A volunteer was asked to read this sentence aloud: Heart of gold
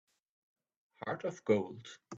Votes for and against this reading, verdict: 2, 1, accepted